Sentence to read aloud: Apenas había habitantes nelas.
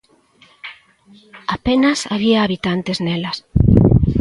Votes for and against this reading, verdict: 2, 0, accepted